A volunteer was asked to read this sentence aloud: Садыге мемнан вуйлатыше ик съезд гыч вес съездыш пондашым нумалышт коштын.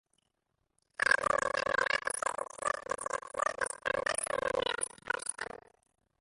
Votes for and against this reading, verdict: 0, 2, rejected